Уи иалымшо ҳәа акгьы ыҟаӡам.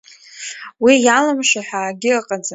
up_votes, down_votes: 2, 0